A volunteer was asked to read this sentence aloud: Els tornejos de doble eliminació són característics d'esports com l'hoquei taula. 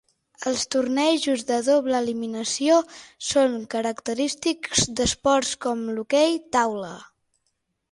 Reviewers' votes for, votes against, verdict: 6, 0, accepted